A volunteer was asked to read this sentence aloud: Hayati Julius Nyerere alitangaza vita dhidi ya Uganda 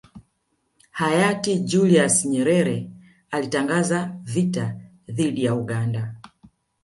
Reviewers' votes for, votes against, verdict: 2, 0, accepted